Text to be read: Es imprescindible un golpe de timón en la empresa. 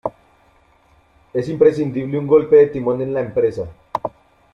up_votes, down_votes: 2, 0